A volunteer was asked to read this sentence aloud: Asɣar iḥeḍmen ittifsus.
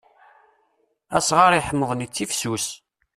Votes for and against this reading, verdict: 2, 3, rejected